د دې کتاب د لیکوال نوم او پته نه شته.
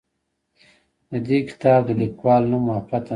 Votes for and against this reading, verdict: 1, 2, rejected